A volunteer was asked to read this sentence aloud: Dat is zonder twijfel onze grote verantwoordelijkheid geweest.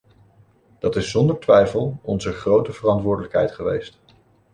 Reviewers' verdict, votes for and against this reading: accepted, 2, 1